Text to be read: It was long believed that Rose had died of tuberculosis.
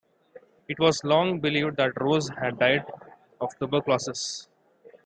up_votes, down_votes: 2, 0